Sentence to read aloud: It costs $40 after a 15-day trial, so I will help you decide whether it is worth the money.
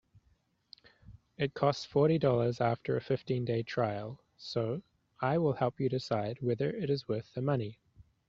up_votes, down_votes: 0, 2